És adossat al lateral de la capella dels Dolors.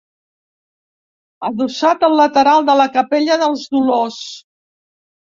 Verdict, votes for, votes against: rejected, 0, 2